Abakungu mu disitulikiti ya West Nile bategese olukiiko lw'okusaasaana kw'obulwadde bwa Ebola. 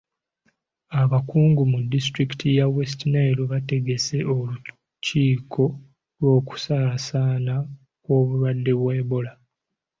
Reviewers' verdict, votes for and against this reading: accepted, 2, 0